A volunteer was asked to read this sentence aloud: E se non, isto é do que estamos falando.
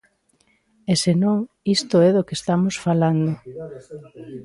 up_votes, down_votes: 2, 0